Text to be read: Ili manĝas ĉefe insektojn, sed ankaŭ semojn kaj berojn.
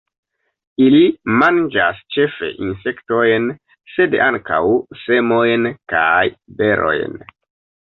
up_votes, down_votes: 2, 1